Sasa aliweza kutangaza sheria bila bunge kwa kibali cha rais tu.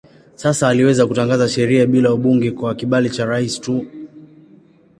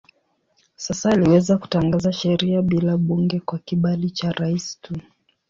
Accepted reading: first